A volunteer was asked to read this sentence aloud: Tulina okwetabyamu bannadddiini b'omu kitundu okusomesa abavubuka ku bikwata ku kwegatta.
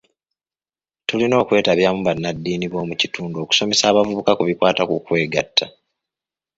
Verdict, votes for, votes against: accepted, 3, 0